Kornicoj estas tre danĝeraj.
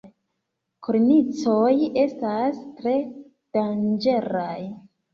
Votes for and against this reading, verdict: 2, 1, accepted